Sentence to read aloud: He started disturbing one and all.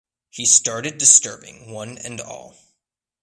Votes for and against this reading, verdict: 2, 0, accepted